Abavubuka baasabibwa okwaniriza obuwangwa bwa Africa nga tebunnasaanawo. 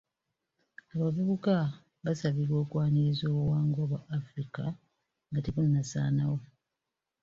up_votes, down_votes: 1, 2